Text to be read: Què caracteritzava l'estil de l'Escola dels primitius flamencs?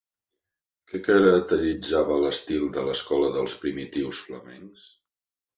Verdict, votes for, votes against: accepted, 3, 1